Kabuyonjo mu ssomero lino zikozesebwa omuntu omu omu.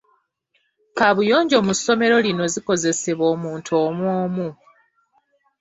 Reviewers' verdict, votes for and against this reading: rejected, 1, 2